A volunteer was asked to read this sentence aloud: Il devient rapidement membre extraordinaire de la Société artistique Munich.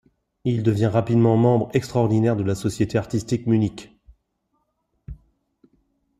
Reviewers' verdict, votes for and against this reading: accepted, 2, 0